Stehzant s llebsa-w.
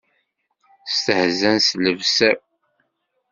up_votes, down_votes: 0, 2